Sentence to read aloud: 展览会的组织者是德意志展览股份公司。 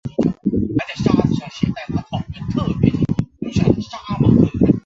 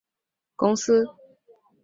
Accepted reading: first